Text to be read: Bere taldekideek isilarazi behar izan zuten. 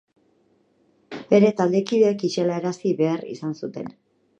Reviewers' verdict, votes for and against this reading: rejected, 2, 2